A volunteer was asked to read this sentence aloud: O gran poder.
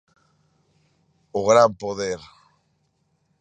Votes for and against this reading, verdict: 2, 0, accepted